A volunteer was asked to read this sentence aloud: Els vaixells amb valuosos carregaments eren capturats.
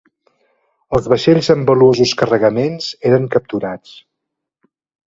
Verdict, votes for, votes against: accepted, 2, 0